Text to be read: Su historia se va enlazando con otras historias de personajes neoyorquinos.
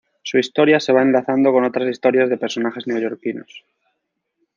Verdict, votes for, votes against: rejected, 1, 2